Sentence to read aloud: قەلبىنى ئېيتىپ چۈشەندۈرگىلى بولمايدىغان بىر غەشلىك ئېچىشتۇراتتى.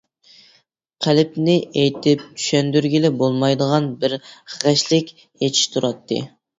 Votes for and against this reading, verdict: 0, 2, rejected